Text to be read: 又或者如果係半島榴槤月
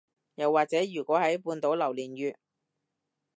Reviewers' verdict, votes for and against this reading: rejected, 1, 2